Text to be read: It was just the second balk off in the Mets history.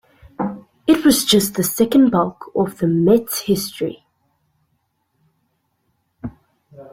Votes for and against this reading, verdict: 0, 2, rejected